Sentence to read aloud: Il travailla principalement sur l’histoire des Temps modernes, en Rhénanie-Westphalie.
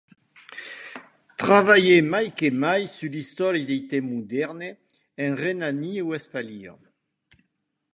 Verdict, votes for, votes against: rejected, 0, 2